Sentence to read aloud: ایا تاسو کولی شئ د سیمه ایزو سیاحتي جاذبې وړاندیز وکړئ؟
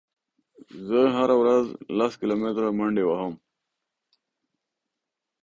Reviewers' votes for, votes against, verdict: 0, 2, rejected